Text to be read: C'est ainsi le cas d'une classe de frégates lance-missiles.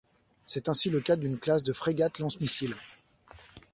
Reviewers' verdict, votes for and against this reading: accepted, 2, 0